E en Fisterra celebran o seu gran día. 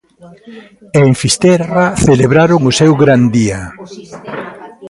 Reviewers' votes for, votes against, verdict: 0, 2, rejected